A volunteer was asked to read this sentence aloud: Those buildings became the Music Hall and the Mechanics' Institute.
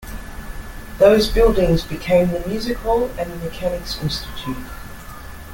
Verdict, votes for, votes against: accepted, 2, 0